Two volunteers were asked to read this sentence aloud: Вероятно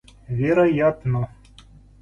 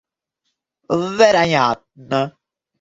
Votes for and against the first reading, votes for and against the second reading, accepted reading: 2, 0, 0, 2, first